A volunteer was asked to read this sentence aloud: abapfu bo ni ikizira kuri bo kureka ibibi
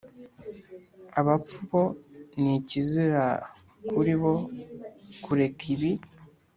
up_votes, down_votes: 1, 2